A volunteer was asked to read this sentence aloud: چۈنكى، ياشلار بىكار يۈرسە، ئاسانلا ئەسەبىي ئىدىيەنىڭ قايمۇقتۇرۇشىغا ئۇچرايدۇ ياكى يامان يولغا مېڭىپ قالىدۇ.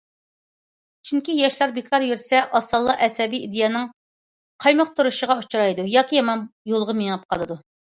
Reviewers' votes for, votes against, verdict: 2, 0, accepted